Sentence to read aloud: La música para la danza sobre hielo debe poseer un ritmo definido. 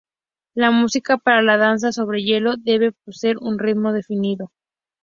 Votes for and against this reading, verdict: 2, 0, accepted